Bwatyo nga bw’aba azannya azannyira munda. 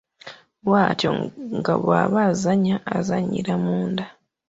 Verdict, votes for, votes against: accepted, 2, 0